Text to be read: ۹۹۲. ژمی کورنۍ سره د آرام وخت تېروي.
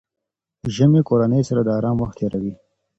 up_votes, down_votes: 0, 2